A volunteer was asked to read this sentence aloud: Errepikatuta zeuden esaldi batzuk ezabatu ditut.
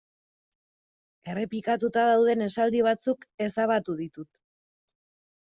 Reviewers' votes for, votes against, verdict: 0, 2, rejected